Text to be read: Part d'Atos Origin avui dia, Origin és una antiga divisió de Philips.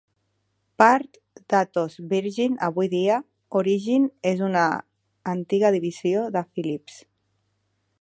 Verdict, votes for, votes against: rejected, 0, 2